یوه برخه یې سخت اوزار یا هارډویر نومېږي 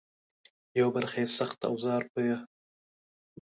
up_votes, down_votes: 0, 2